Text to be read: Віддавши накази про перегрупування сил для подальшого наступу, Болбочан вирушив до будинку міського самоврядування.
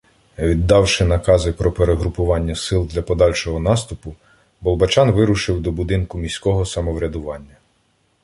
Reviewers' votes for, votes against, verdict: 2, 0, accepted